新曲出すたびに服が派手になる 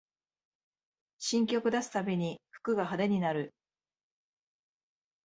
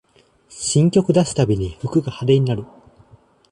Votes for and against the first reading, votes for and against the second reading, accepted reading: 0, 2, 2, 0, second